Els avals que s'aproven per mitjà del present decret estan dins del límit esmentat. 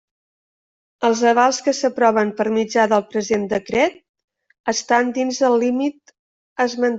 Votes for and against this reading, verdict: 1, 2, rejected